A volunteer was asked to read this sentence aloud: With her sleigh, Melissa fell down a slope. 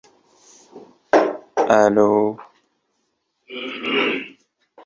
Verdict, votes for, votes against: rejected, 0, 2